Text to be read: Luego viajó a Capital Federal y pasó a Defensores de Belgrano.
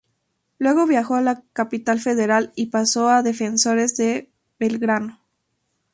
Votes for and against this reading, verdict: 4, 0, accepted